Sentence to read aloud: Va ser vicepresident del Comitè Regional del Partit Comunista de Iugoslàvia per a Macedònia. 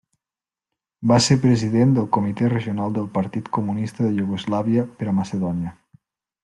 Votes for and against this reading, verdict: 1, 2, rejected